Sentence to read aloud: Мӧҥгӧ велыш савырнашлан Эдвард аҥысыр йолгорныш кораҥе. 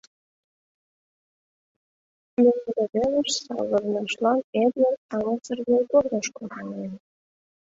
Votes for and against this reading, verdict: 1, 2, rejected